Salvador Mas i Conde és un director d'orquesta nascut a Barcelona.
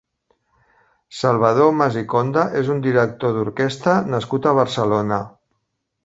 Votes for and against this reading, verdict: 4, 0, accepted